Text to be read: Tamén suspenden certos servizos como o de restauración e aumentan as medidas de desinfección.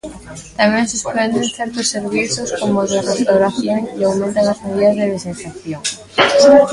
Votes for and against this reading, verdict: 0, 2, rejected